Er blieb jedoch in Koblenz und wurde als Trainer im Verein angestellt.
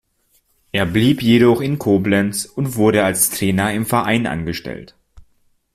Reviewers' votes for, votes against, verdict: 2, 0, accepted